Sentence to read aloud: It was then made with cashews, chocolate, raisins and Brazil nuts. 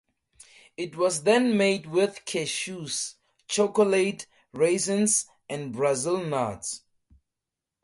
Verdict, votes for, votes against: accepted, 2, 0